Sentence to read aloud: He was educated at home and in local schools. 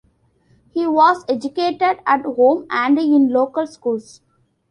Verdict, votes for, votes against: rejected, 1, 2